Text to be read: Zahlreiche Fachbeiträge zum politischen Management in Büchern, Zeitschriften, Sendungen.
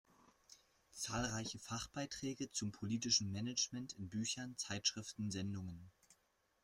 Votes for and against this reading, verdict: 2, 0, accepted